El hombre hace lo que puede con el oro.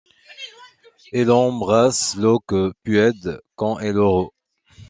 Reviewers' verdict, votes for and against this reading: rejected, 0, 2